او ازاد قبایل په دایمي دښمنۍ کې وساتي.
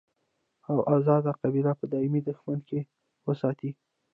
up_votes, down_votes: 0, 2